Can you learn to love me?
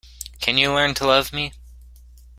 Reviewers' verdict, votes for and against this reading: accepted, 2, 0